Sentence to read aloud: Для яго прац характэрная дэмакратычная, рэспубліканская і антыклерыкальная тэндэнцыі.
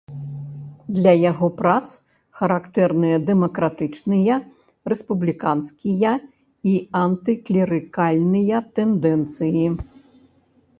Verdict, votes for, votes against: rejected, 0, 2